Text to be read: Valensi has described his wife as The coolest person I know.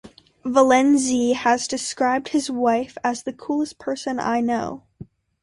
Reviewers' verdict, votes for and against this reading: accepted, 2, 0